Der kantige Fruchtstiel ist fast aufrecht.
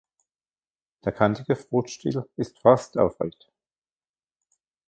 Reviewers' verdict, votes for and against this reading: rejected, 0, 2